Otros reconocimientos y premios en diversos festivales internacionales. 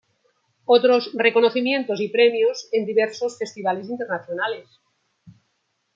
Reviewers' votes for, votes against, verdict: 1, 2, rejected